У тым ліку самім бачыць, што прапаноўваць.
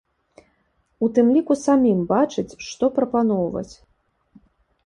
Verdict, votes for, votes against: accepted, 2, 0